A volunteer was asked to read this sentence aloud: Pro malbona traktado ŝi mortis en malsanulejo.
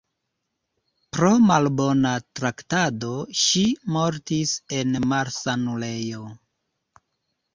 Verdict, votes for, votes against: accepted, 2, 0